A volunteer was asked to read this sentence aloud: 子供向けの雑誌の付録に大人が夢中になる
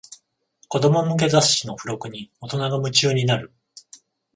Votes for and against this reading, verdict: 14, 0, accepted